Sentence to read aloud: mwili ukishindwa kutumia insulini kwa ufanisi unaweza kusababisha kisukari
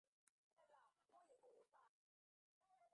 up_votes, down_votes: 0, 2